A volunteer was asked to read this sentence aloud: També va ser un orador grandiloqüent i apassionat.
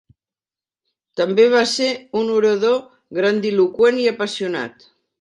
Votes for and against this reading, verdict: 4, 0, accepted